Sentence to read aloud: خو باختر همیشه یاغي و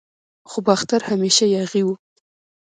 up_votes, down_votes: 0, 2